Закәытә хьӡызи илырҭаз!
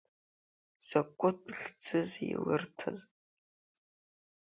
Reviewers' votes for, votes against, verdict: 3, 1, accepted